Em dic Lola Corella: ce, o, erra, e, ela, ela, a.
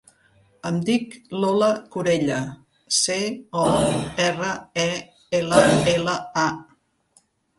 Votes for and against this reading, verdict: 1, 2, rejected